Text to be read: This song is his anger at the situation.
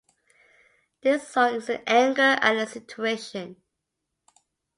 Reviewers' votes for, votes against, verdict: 0, 2, rejected